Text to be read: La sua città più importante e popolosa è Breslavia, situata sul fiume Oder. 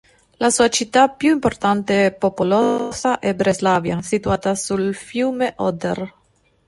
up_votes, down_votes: 2, 1